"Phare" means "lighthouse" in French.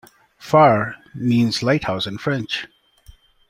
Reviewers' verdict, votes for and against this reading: accepted, 2, 0